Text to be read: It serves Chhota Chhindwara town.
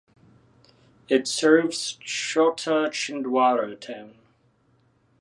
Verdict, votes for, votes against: rejected, 1, 2